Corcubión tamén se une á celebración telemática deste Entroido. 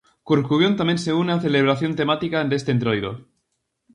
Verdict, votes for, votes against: rejected, 0, 4